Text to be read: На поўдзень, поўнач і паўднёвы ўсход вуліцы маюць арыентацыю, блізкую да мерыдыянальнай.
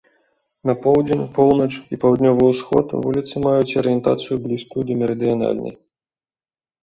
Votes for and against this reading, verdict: 2, 0, accepted